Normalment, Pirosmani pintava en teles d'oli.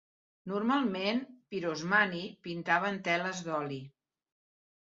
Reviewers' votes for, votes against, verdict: 2, 0, accepted